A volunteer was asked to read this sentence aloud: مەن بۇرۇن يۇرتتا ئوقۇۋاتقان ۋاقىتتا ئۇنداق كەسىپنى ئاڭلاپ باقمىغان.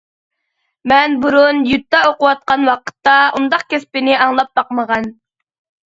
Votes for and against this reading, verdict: 0, 2, rejected